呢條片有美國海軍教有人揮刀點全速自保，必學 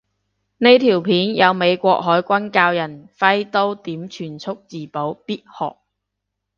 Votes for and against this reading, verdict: 0, 2, rejected